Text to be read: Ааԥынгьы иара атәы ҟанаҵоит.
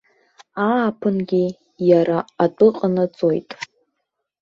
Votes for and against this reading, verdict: 1, 2, rejected